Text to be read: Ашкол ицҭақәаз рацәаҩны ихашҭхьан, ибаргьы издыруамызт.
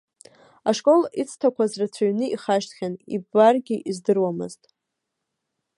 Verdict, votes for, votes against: rejected, 1, 2